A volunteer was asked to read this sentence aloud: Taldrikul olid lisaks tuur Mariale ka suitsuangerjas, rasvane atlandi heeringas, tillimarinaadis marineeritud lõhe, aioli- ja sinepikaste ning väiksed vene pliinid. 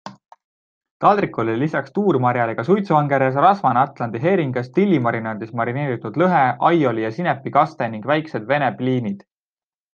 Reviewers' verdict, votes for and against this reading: accepted, 2, 0